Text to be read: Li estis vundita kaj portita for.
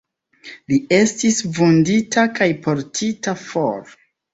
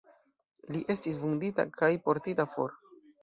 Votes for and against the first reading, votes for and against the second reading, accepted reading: 2, 0, 0, 2, first